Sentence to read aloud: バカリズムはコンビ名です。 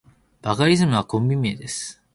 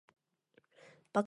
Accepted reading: first